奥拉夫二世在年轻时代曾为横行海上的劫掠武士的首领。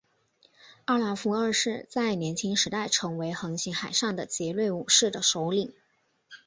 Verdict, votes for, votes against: accepted, 6, 0